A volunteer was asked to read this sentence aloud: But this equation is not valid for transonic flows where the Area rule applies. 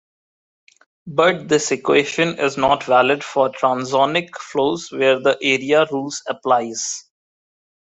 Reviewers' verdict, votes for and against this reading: rejected, 0, 2